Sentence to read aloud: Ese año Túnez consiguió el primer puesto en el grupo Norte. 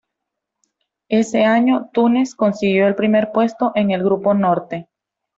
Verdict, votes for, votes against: accepted, 2, 0